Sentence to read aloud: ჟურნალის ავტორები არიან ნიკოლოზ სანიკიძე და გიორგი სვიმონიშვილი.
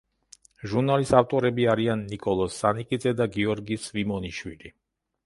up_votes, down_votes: 2, 0